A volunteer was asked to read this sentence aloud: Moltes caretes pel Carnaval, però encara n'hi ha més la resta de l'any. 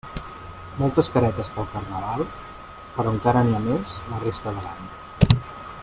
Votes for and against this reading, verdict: 1, 2, rejected